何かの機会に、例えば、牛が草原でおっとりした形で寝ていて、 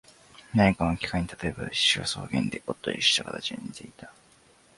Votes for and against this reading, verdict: 1, 2, rejected